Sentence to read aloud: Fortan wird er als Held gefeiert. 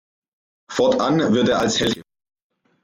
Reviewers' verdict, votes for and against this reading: rejected, 0, 2